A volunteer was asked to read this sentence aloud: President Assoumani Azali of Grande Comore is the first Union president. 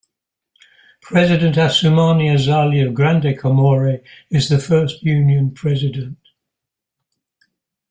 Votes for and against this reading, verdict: 2, 0, accepted